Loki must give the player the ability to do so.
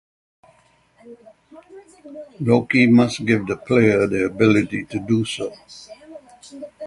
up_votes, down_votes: 3, 3